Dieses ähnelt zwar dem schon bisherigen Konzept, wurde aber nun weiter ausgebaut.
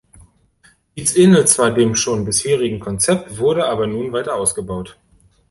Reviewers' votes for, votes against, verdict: 0, 2, rejected